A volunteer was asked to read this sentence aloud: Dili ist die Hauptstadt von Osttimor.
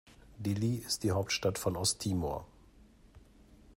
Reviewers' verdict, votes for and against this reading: accepted, 2, 0